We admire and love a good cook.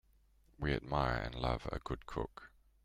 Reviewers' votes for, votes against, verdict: 2, 0, accepted